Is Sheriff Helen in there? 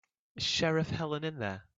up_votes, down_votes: 2, 0